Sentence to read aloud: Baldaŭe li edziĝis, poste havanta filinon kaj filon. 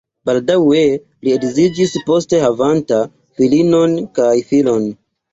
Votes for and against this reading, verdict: 1, 2, rejected